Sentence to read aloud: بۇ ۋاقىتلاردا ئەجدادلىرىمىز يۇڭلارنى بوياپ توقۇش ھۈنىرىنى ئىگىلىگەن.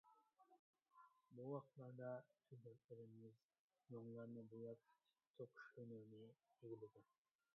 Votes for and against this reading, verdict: 1, 2, rejected